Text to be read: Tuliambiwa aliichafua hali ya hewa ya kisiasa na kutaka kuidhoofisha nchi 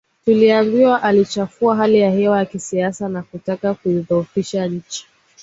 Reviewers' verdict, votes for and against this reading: accepted, 2, 0